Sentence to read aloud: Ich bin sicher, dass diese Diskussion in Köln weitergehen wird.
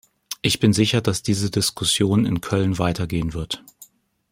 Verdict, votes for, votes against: accepted, 2, 0